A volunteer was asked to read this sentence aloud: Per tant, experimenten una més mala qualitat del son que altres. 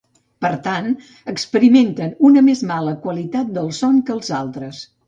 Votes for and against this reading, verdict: 1, 2, rejected